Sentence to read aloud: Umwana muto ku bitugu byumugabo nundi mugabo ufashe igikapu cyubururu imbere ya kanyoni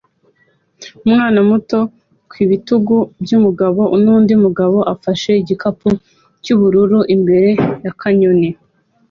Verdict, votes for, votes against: accepted, 2, 0